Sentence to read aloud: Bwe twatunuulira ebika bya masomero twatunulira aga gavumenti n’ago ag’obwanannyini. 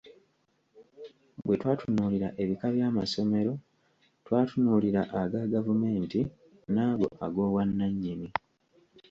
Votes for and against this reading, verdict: 2, 0, accepted